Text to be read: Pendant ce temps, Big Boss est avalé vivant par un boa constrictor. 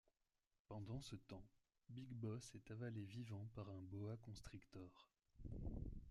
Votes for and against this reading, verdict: 2, 1, accepted